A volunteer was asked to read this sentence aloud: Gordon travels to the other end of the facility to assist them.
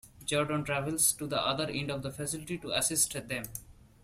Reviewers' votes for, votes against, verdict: 2, 0, accepted